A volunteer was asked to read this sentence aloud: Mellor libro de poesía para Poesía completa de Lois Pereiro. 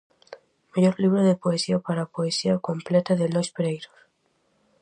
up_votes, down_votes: 2, 0